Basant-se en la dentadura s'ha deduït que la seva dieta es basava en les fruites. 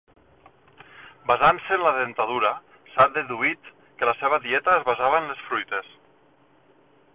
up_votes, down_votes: 2, 0